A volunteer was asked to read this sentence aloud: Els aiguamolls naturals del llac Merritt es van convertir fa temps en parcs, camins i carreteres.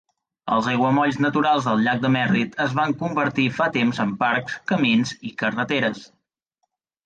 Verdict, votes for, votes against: rejected, 0, 2